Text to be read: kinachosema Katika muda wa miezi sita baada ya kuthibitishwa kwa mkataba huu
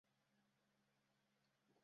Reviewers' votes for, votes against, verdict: 0, 2, rejected